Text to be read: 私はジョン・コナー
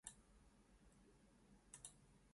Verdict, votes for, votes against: rejected, 1, 2